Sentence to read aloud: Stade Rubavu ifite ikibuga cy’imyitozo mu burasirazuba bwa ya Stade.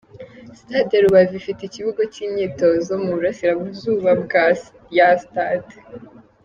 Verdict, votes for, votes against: rejected, 1, 2